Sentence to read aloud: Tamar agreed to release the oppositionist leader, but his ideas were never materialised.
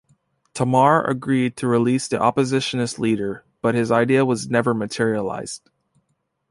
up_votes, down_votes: 1, 2